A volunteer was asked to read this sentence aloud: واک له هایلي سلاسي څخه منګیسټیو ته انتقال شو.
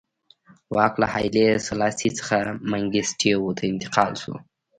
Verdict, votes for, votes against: rejected, 1, 2